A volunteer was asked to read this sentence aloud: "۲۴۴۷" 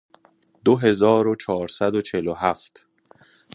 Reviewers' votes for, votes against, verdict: 0, 2, rejected